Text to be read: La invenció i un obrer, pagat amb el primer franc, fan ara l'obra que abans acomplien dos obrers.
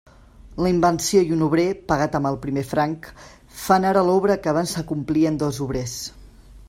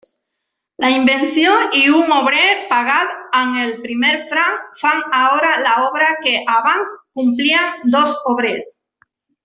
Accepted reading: first